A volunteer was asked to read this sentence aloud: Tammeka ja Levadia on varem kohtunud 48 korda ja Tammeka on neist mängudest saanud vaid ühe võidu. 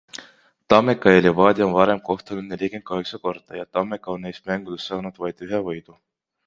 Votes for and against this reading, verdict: 0, 2, rejected